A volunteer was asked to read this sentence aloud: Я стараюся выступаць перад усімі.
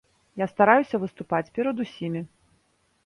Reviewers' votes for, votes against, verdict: 2, 0, accepted